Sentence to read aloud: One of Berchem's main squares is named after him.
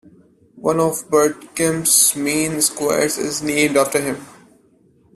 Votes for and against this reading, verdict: 0, 2, rejected